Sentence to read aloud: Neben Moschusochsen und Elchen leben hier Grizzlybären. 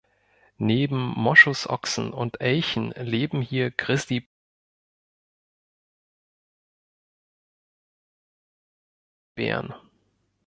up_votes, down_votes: 0, 2